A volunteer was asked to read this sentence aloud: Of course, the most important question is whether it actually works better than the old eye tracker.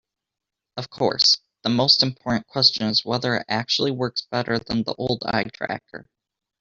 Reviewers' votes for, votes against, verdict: 1, 2, rejected